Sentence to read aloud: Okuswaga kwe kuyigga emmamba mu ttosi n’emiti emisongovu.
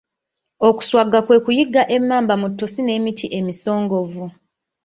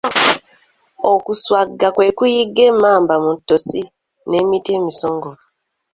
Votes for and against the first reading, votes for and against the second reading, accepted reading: 1, 2, 2, 0, second